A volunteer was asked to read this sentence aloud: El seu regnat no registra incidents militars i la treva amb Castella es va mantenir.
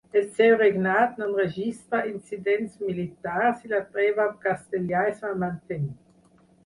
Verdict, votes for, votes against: rejected, 0, 6